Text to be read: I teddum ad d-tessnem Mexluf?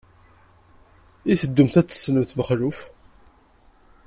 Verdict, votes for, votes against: accepted, 2, 0